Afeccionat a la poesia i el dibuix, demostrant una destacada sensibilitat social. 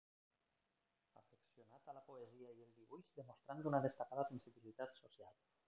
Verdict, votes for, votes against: rejected, 1, 2